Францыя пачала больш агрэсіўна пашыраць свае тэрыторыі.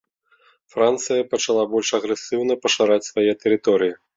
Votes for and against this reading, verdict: 0, 2, rejected